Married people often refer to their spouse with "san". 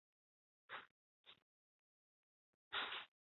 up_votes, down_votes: 1, 2